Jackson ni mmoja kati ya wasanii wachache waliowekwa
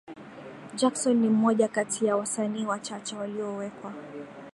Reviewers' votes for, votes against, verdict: 2, 0, accepted